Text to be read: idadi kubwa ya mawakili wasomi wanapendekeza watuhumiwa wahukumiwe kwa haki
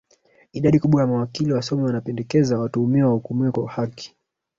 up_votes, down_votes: 1, 2